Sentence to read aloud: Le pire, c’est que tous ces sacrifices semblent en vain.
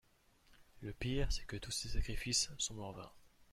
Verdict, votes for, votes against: accepted, 2, 0